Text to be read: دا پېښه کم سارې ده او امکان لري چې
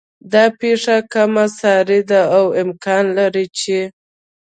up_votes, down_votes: 2, 0